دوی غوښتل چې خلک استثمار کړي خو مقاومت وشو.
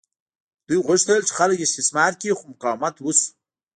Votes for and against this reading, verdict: 2, 1, accepted